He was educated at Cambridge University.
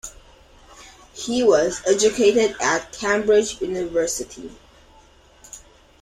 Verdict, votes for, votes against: accepted, 2, 1